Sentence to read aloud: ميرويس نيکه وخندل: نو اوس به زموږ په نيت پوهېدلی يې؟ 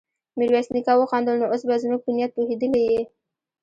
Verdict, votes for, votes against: rejected, 0, 2